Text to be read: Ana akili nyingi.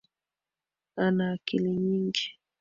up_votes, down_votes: 3, 0